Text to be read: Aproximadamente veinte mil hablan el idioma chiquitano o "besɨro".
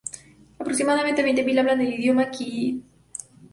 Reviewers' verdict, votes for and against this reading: rejected, 0, 2